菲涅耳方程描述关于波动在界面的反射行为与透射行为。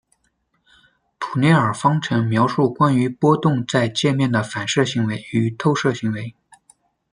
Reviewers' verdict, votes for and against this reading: rejected, 0, 2